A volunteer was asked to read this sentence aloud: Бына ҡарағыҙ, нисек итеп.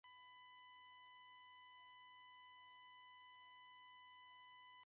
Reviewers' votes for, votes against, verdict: 0, 2, rejected